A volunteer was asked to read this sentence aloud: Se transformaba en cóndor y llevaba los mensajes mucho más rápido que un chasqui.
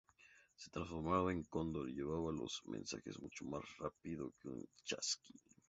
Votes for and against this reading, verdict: 2, 0, accepted